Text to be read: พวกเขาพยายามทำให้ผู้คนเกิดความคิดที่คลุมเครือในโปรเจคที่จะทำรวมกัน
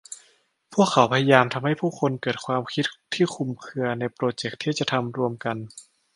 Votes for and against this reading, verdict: 2, 0, accepted